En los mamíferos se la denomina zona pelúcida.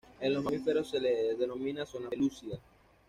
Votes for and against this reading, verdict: 1, 2, rejected